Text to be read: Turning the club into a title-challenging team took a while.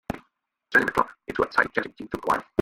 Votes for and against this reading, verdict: 1, 2, rejected